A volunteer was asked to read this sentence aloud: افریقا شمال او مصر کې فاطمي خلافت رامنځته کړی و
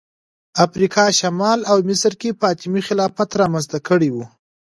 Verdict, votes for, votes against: accepted, 2, 1